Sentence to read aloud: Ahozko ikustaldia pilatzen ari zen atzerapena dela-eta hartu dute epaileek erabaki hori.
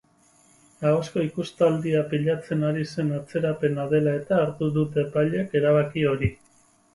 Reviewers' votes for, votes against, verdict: 4, 0, accepted